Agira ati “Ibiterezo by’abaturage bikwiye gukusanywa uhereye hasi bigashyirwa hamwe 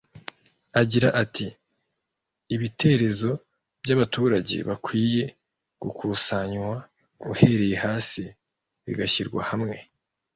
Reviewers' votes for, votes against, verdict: 0, 2, rejected